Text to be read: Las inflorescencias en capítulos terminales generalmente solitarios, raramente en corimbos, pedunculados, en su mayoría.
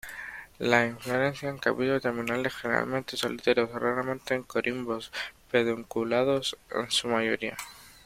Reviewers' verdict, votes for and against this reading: rejected, 0, 2